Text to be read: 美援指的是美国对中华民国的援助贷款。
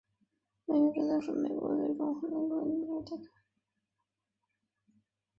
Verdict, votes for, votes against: rejected, 0, 2